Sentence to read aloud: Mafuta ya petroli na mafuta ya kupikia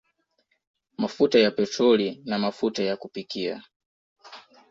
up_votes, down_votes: 2, 0